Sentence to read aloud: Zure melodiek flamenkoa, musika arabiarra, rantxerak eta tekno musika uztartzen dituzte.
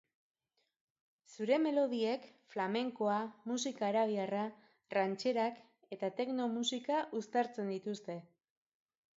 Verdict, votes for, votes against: accepted, 2, 0